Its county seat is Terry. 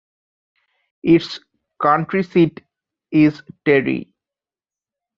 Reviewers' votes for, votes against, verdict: 2, 1, accepted